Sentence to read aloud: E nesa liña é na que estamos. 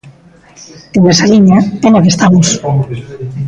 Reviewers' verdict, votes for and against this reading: rejected, 1, 2